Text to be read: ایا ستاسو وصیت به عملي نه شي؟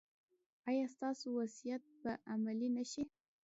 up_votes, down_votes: 2, 0